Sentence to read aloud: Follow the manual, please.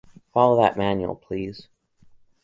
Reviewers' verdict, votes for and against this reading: rejected, 1, 2